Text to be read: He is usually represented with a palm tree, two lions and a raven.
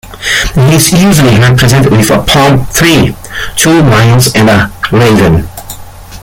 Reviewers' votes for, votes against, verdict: 0, 2, rejected